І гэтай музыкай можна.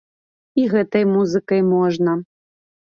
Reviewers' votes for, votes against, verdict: 2, 0, accepted